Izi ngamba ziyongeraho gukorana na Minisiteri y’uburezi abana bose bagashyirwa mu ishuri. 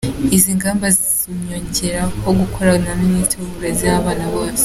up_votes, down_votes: 1, 2